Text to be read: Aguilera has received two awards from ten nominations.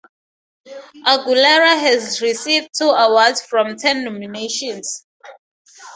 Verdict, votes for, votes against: accepted, 2, 0